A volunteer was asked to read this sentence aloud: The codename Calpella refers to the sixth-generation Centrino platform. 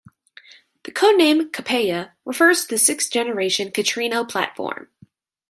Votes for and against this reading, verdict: 2, 1, accepted